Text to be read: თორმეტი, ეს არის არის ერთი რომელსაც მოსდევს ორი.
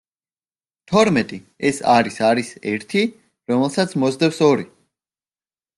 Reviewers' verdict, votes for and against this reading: rejected, 0, 2